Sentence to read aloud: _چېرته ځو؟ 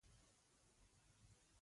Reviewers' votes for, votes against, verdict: 1, 2, rejected